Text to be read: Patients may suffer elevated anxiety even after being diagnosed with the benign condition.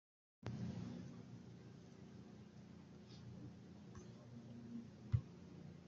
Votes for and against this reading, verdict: 0, 2, rejected